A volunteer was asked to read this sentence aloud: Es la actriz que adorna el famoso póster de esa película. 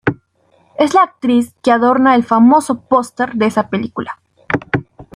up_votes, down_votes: 2, 0